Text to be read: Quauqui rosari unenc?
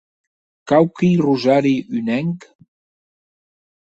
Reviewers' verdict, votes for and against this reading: accepted, 4, 0